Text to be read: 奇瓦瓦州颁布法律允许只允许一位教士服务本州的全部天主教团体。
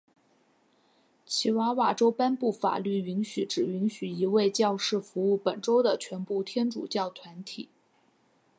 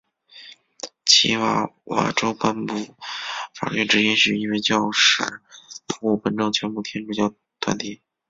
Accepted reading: first